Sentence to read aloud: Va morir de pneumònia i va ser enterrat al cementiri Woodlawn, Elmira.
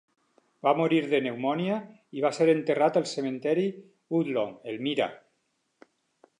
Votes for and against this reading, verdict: 2, 4, rejected